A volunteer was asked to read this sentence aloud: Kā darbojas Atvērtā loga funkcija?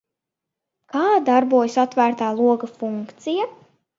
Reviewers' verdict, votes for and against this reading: accepted, 2, 0